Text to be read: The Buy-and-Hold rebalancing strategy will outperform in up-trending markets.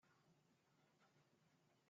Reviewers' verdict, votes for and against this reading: rejected, 0, 2